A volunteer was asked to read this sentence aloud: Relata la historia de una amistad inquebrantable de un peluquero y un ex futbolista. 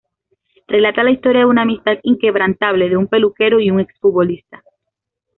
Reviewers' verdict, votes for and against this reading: accepted, 2, 0